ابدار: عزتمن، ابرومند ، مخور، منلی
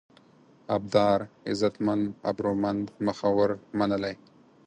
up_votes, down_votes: 4, 0